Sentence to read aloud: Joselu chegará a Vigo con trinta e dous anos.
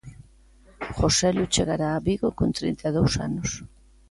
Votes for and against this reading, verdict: 2, 0, accepted